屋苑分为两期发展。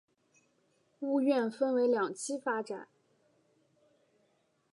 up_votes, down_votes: 3, 1